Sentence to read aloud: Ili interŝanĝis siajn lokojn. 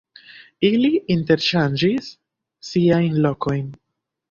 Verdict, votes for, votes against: accepted, 2, 1